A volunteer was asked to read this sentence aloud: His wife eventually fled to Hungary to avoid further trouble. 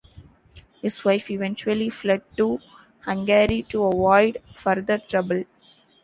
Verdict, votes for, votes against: accepted, 2, 0